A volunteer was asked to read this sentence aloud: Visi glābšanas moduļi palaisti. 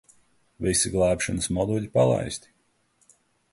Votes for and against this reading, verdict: 2, 0, accepted